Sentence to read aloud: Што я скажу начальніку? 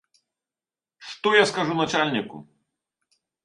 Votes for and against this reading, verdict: 2, 0, accepted